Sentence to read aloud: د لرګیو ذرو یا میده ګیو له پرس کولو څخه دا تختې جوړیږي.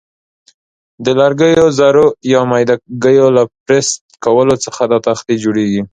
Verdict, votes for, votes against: accepted, 2, 0